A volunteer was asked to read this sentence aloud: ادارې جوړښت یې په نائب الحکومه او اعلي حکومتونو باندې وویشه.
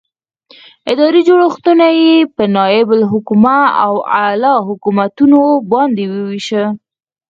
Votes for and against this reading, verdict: 2, 4, rejected